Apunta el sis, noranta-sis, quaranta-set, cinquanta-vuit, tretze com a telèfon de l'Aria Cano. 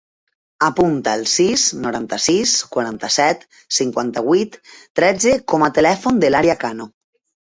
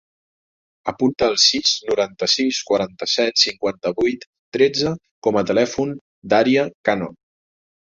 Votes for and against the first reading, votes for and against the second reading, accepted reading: 3, 0, 1, 2, first